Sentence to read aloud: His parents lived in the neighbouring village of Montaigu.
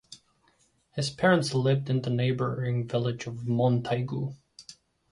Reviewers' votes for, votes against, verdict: 2, 0, accepted